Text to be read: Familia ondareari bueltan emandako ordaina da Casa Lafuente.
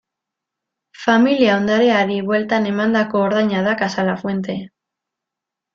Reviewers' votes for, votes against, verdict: 2, 0, accepted